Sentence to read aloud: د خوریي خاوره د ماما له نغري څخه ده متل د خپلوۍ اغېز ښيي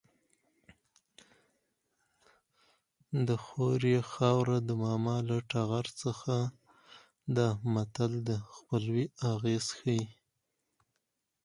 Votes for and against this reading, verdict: 2, 4, rejected